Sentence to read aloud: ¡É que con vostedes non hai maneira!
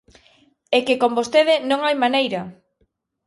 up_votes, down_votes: 1, 2